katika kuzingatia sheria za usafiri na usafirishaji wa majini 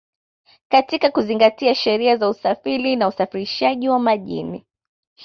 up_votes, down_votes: 1, 2